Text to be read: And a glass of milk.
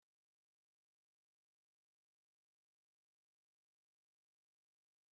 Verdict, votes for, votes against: rejected, 0, 3